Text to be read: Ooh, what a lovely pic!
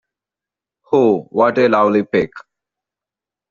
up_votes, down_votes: 2, 1